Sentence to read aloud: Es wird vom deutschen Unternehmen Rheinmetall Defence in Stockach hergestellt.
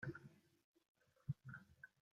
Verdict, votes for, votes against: rejected, 0, 2